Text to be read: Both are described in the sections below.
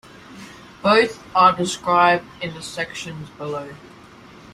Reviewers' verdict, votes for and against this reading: accepted, 3, 0